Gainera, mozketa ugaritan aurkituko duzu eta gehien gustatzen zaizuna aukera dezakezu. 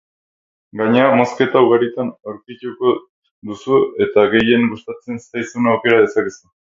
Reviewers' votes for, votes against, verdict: 4, 2, accepted